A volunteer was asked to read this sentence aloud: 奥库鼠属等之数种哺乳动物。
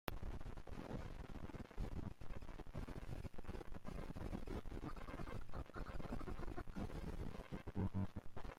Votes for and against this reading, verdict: 0, 2, rejected